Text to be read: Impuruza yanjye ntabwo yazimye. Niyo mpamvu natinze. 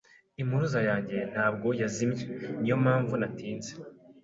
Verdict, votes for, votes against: accepted, 2, 0